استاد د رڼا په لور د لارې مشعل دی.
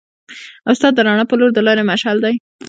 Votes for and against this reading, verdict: 2, 0, accepted